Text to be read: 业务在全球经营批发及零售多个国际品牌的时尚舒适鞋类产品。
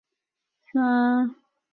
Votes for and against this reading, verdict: 0, 3, rejected